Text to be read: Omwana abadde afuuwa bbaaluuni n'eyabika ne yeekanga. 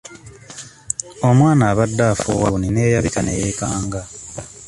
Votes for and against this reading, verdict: 0, 2, rejected